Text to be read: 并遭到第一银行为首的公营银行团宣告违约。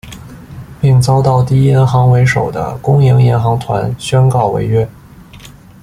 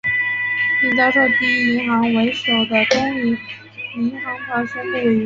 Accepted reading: first